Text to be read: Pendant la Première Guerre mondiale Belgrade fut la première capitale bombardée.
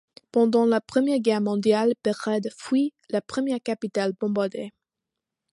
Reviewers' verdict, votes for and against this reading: accepted, 2, 1